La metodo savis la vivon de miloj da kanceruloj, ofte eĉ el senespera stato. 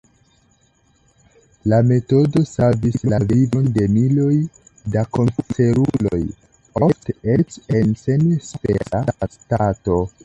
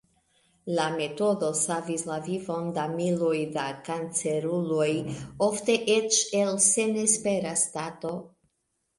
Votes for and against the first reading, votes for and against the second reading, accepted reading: 2, 1, 1, 2, first